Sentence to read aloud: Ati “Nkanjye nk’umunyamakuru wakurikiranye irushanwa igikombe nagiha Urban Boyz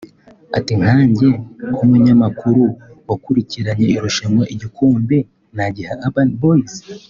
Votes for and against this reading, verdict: 2, 0, accepted